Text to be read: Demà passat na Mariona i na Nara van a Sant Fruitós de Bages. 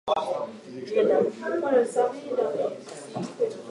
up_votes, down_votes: 0, 2